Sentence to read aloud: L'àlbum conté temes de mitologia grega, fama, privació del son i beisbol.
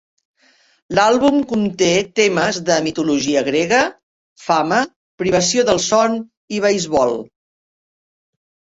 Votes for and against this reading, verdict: 7, 0, accepted